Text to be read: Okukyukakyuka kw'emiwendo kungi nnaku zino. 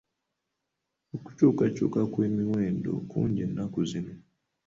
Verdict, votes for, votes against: accepted, 2, 1